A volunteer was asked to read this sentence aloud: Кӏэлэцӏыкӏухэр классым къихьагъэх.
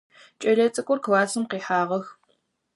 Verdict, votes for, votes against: rejected, 2, 4